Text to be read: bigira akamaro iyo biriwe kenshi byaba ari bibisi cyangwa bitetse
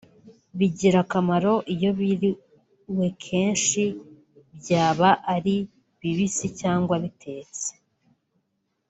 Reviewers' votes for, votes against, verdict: 2, 0, accepted